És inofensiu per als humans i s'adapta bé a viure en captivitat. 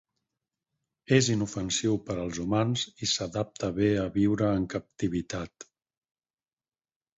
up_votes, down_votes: 4, 0